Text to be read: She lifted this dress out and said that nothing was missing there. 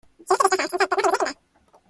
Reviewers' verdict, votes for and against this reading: rejected, 1, 2